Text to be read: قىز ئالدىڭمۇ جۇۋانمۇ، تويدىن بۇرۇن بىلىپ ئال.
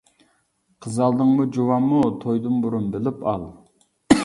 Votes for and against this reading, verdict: 2, 0, accepted